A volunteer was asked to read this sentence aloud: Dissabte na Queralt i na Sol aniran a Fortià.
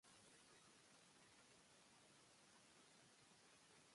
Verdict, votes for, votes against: rejected, 1, 2